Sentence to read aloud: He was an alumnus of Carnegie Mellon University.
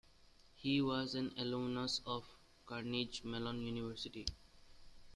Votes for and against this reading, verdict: 0, 2, rejected